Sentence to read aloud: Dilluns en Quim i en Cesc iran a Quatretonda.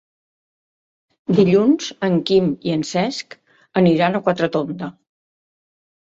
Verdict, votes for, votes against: rejected, 1, 2